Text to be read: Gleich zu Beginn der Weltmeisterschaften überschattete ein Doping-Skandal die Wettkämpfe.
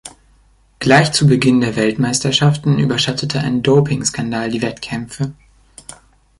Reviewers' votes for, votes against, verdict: 3, 0, accepted